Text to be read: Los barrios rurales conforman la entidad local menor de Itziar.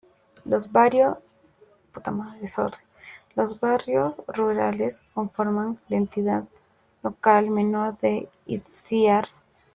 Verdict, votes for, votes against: rejected, 0, 2